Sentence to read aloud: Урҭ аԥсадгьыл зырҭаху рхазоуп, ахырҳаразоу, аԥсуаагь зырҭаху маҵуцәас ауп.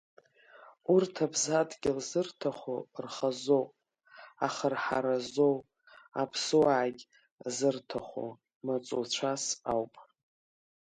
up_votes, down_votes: 2, 0